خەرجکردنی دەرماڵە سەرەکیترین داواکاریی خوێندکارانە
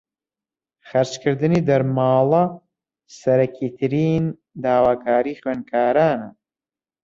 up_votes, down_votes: 0, 2